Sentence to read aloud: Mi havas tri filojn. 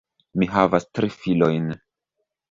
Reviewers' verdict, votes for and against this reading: rejected, 0, 2